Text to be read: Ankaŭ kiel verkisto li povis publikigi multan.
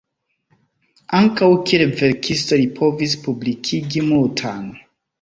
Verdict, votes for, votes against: rejected, 1, 2